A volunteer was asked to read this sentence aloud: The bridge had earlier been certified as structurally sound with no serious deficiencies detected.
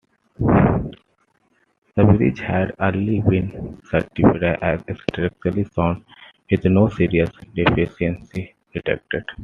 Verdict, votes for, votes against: accepted, 2, 1